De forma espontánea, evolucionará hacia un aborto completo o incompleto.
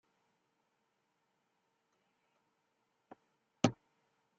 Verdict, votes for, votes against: rejected, 0, 2